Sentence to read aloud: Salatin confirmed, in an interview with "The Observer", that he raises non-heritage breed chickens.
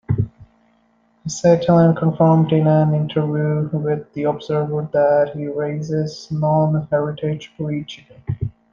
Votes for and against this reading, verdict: 0, 2, rejected